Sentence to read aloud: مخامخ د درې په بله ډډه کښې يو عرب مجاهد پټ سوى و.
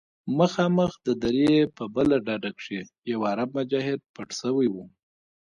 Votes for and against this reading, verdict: 1, 2, rejected